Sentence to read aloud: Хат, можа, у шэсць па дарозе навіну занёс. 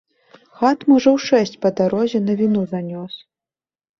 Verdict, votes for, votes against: accepted, 2, 0